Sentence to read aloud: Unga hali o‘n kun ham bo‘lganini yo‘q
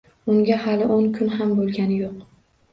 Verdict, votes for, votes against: accepted, 2, 0